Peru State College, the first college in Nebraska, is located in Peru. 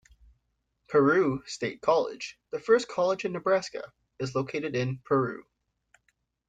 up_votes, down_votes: 2, 0